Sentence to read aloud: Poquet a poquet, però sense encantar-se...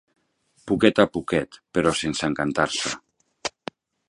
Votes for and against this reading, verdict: 2, 0, accepted